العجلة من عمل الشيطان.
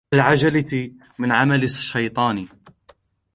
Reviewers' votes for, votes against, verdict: 1, 2, rejected